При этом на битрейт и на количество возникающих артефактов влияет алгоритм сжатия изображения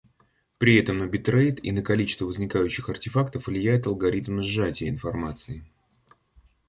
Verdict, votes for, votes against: rejected, 0, 2